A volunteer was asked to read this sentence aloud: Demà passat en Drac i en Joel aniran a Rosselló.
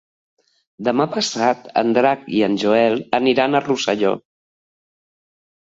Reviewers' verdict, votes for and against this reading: accepted, 5, 0